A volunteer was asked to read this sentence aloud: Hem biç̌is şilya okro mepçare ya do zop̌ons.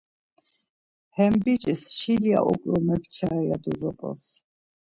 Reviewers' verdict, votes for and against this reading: accepted, 2, 0